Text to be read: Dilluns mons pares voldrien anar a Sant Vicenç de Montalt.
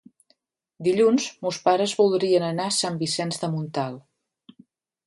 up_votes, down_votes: 2, 0